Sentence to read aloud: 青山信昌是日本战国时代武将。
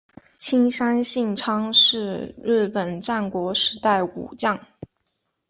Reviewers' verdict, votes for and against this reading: accepted, 2, 0